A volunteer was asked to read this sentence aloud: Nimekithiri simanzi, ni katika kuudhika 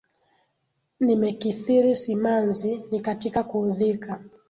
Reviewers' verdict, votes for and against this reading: rejected, 2, 3